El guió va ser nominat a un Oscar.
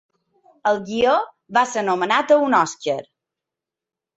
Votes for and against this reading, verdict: 1, 2, rejected